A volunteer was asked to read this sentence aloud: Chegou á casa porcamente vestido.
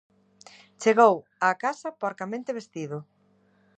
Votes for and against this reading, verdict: 2, 0, accepted